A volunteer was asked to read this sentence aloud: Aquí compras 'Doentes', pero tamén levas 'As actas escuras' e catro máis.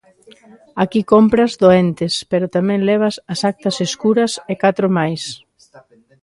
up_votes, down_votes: 0, 2